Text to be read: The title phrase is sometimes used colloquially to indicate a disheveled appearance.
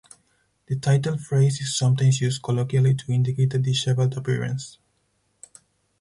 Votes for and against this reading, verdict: 2, 2, rejected